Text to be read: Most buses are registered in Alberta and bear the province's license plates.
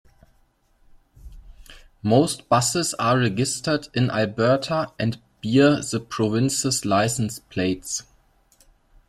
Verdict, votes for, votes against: rejected, 0, 2